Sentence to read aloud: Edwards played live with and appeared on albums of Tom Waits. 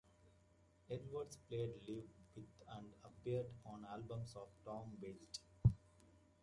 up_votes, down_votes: 1, 2